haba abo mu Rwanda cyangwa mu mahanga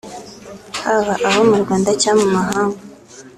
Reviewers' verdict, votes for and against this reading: accepted, 3, 0